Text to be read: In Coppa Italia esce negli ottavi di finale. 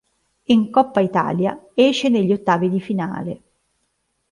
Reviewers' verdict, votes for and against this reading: accepted, 2, 0